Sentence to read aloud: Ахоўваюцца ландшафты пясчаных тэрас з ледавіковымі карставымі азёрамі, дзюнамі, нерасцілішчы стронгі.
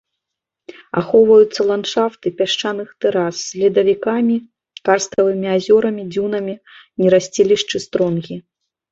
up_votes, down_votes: 2, 1